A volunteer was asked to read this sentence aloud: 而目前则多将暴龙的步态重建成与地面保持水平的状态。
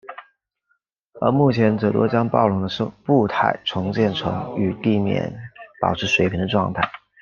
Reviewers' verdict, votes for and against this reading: rejected, 1, 2